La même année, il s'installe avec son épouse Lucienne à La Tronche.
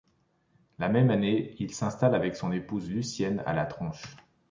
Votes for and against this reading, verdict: 2, 0, accepted